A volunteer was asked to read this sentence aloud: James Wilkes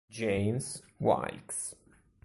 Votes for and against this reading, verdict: 2, 0, accepted